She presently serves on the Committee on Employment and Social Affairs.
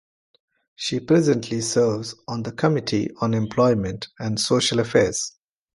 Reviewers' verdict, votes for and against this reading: accepted, 2, 1